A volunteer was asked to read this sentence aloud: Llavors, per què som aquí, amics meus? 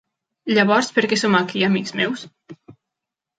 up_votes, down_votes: 3, 0